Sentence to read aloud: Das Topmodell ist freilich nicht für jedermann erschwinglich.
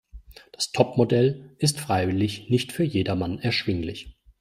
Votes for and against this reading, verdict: 0, 2, rejected